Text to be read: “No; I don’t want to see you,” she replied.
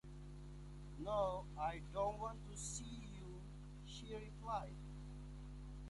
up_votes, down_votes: 2, 1